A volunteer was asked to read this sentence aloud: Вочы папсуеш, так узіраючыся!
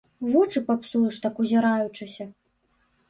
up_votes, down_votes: 1, 2